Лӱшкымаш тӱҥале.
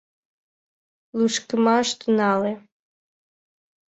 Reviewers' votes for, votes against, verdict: 1, 2, rejected